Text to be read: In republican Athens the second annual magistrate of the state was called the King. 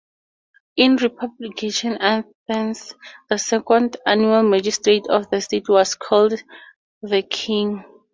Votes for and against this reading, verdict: 2, 0, accepted